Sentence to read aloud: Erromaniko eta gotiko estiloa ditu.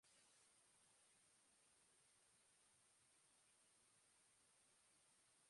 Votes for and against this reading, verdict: 0, 2, rejected